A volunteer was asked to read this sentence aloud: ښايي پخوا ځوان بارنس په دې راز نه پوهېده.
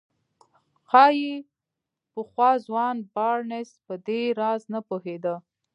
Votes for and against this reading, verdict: 2, 0, accepted